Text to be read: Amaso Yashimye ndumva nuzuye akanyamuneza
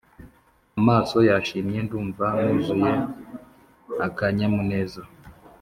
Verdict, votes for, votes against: accepted, 4, 0